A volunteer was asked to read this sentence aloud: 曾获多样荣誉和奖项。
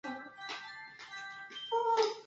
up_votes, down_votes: 0, 2